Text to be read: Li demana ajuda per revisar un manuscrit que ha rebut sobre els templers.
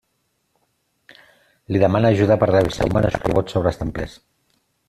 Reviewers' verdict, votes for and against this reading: rejected, 0, 2